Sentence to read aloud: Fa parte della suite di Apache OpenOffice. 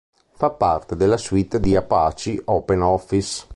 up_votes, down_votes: 0, 2